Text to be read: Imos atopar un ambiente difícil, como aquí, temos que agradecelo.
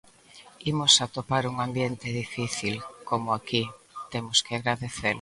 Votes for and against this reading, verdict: 1, 2, rejected